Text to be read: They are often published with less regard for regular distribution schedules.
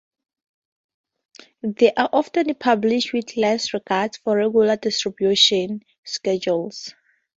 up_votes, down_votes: 0, 2